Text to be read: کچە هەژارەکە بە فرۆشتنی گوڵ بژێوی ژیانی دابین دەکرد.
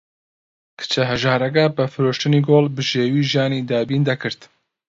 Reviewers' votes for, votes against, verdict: 2, 0, accepted